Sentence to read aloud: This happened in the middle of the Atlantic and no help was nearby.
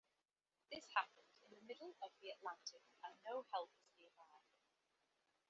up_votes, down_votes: 0, 2